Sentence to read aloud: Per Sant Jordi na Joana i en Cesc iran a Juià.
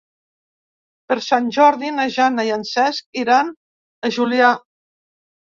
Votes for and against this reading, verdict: 0, 2, rejected